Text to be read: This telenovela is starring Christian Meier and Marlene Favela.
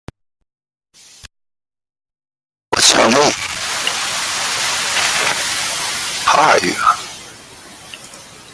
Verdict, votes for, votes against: rejected, 0, 2